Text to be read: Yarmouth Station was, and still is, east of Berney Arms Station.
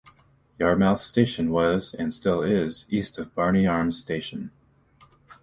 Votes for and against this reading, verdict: 0, 2, rejected